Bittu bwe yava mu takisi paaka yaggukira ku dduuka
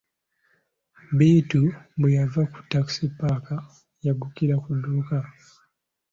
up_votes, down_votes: 2, 0